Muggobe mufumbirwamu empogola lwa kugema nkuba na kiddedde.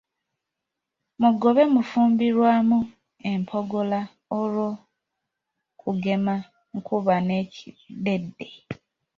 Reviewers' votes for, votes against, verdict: 0, 2, rejected